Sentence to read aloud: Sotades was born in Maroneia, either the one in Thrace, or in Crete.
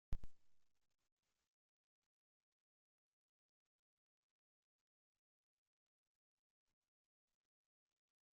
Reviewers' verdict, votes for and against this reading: rejected, 0, 2